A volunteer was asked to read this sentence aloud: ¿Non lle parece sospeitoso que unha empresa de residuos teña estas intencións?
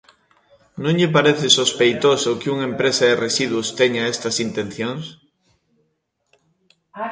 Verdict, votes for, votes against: rejected, 1, 2